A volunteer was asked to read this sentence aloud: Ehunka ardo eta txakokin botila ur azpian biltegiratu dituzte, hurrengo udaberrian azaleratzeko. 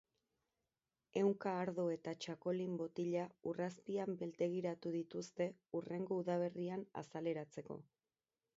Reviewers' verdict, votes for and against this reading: accepted, 4, 0